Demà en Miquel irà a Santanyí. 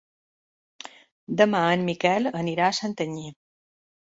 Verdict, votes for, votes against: rejected, 1, 2